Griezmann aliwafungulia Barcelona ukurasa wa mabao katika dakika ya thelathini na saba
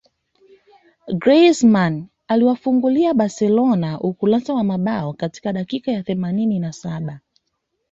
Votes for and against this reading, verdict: 2, 0, accepted